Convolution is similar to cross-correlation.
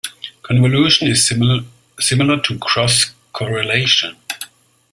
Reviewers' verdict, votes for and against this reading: rejected, 0, 2